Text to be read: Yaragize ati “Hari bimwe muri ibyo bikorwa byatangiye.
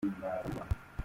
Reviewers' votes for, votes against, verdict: 0, 2, rejected